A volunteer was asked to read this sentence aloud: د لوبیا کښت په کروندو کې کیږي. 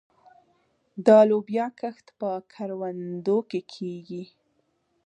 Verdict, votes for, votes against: accepted, 2, 0